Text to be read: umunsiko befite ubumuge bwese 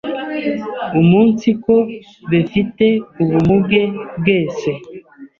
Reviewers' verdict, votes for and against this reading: rejected, 0, 2